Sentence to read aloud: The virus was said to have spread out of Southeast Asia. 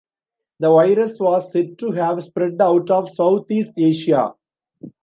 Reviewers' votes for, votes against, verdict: 2, 0, accepted